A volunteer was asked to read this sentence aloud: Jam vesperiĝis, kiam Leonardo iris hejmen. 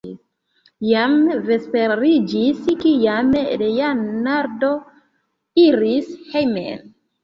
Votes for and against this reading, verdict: 1, 2, rejected